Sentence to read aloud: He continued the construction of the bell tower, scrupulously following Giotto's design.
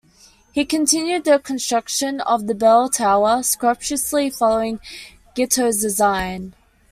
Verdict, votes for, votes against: rejected, 1, 2